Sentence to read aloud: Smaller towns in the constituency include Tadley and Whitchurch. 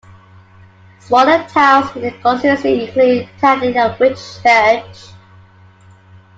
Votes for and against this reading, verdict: 1, 2, rejected